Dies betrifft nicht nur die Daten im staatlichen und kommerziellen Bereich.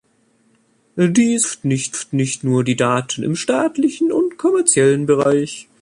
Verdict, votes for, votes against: rejected, 0, 2